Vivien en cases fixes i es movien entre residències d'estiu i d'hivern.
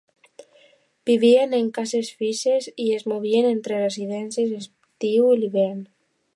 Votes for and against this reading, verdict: 0, 2, rejected